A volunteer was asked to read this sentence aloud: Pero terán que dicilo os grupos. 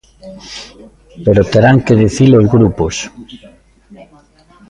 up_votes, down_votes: 2, 0